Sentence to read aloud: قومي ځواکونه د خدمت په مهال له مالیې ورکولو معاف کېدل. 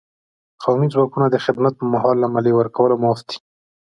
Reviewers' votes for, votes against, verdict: 2, 0, accepted